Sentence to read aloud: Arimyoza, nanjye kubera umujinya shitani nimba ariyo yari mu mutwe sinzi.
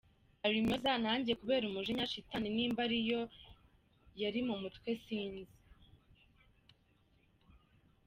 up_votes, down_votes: 2, 0